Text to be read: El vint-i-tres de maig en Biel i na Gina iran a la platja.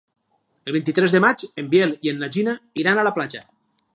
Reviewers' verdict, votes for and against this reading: rejected, 0, 4